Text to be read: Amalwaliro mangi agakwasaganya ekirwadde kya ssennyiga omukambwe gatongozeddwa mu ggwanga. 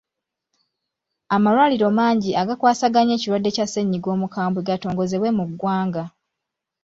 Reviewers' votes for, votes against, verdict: 0, 2, rejected